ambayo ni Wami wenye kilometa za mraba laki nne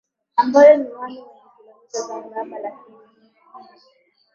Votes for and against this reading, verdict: 3, 5, rejected